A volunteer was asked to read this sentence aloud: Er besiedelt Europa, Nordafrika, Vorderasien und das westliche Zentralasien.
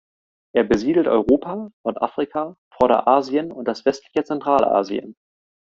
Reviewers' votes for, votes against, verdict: 2, 0, accepted